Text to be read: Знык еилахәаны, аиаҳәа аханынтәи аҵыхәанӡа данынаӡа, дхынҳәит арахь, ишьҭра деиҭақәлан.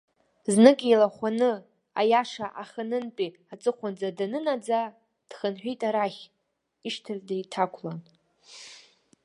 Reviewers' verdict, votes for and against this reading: rejected, 0, 2